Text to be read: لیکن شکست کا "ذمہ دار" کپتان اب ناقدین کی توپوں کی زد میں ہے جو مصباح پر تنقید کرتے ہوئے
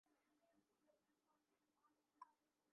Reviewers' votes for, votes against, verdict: 2, 4, rejected